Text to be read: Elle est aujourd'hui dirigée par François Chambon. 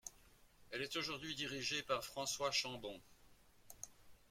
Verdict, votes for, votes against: rejected, 1, 2